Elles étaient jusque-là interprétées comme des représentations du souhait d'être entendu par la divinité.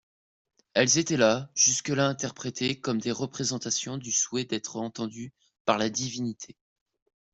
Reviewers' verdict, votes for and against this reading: rejected, 1, 2